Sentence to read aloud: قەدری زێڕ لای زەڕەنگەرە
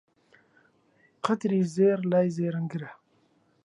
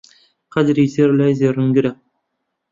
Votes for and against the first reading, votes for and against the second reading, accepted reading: 0, 2, 2, 1, second